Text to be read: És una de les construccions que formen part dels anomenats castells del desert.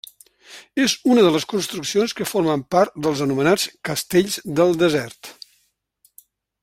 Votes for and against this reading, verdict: 3, 1, accepted